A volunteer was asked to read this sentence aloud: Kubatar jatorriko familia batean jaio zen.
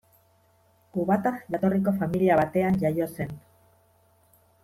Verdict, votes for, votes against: accepted, 2, 1